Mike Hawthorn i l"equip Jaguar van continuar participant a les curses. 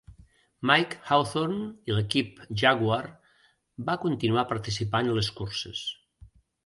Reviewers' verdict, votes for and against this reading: rejected, 0, 2